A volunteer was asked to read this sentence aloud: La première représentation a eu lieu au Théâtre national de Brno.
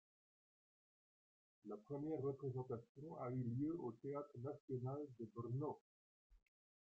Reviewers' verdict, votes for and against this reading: rejected, 0, 3